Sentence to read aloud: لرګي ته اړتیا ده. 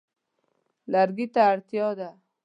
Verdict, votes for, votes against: accepted, 2, 0